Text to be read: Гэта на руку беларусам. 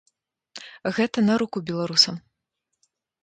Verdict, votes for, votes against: rejected, 0, 2